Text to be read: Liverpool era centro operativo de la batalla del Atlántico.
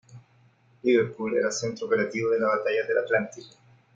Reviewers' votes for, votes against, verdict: 2, 0, accepted